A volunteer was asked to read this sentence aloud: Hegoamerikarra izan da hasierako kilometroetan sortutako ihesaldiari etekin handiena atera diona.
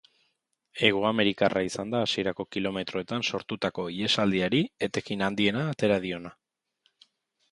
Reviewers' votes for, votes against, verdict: 2, 0, accepted